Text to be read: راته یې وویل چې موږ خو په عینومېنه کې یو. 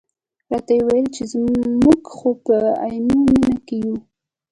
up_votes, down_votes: 2, 1